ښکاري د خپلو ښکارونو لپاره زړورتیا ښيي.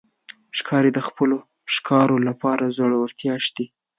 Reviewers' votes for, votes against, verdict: 0, 2, rejected